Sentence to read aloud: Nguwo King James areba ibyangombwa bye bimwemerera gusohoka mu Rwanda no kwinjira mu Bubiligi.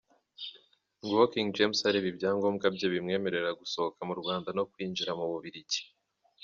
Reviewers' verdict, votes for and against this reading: accepted, 2, 1